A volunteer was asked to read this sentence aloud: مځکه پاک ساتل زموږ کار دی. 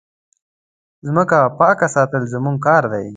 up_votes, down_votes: 1, 2